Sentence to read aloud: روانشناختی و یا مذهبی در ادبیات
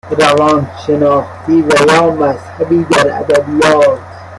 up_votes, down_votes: 0, 2